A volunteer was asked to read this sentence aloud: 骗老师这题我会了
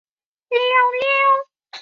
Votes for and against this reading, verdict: 0, 2, rejected